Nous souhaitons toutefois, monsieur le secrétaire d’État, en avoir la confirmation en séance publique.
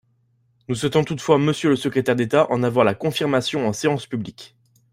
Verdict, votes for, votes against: accepted, 2, 0